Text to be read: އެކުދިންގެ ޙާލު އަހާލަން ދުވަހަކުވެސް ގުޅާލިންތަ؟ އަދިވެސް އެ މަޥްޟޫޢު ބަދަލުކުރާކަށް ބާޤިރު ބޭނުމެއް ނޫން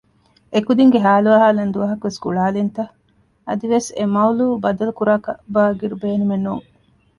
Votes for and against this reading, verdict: 1, 2, rejected